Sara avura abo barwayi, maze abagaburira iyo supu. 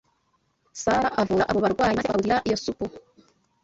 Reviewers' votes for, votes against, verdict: 0, 2, rejected